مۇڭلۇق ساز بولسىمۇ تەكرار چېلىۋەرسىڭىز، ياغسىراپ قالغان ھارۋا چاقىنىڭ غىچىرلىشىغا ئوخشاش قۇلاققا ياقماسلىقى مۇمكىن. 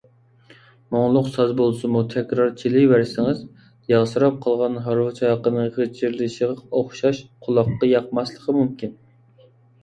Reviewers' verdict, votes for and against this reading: accepted, 2, 0